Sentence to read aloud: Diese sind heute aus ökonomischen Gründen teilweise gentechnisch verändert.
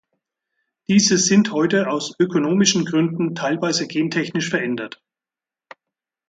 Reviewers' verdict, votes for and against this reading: accepted, 4, 0